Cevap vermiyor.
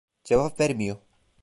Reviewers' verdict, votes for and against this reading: rejected, 1, 2